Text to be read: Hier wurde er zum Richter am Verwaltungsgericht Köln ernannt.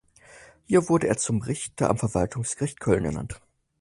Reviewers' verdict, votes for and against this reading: accepted, 4, 0